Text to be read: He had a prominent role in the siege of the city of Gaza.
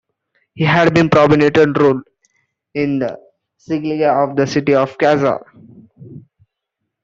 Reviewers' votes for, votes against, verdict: 0, 2, rejected